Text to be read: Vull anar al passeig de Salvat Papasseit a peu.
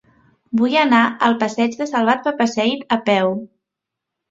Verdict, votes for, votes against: accepted, 2, 0